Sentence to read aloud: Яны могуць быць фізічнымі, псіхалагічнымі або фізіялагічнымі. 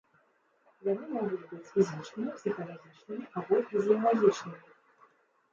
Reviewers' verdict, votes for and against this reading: rejected, 1, 2